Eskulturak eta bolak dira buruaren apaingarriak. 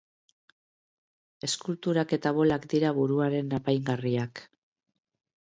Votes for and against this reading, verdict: 3, 0, accepted